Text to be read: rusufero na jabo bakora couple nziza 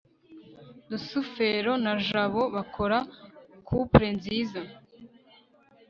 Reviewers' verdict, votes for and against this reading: accepted, 3, 0